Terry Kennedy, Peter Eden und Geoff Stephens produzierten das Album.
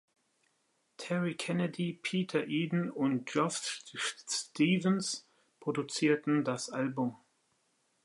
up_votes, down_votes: 1, 2